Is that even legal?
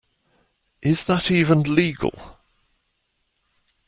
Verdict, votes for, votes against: accepted, 2, 0